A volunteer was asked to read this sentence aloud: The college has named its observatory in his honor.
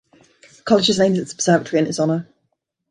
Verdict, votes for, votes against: rejected, 1, 3